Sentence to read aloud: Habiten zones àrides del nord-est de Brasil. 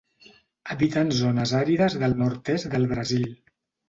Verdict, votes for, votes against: rejected, 1, 2